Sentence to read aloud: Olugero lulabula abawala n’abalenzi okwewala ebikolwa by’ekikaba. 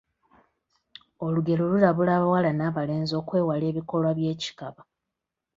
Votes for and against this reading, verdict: 0, 2, rejected